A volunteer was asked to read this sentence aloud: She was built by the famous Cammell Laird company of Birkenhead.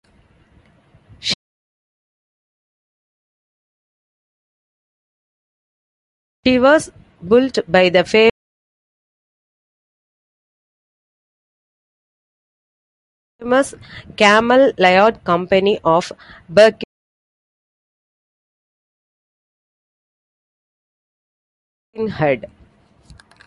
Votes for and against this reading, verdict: 1, 2, rejected